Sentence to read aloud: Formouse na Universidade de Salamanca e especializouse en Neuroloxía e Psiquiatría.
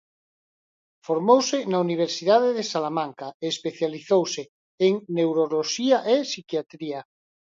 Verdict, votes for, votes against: accepted, 4, 0